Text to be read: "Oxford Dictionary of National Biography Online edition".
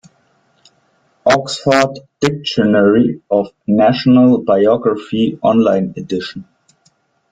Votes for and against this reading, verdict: 1, 2, rejected